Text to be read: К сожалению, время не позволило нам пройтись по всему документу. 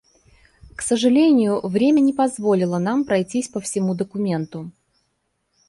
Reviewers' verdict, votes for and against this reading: accepted, 2, 0